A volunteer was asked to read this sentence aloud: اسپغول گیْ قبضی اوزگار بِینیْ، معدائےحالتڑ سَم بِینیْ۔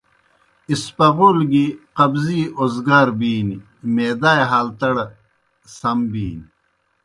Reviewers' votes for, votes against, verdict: 0, 2, rejected